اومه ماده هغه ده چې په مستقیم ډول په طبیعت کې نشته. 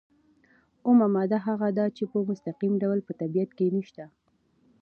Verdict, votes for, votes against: accepted, 2, 0